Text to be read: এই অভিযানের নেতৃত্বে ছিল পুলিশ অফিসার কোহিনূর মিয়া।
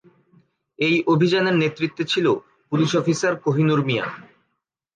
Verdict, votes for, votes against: accepted, 3, 0